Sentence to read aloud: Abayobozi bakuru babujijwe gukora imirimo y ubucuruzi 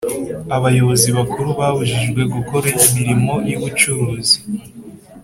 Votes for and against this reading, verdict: 2, 0, accepted